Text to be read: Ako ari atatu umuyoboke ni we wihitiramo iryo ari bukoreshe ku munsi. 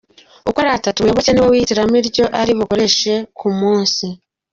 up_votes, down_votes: 1, 2